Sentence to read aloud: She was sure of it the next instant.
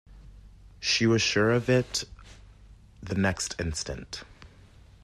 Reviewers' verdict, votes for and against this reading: accepted, 2, 0